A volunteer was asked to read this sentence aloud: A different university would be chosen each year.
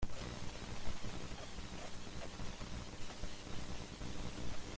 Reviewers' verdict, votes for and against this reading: rejected, 0, 2